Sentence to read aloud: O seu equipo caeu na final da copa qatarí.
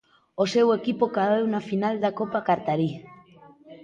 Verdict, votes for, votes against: accepted, 3, 2